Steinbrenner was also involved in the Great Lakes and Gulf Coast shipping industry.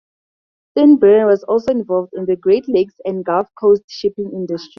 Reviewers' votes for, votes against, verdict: 0, 4, rejected